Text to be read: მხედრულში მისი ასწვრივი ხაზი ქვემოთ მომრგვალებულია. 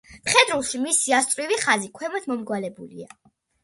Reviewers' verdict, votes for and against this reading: accepted, 2, 0